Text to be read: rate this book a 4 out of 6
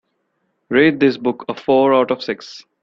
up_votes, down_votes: 0, 2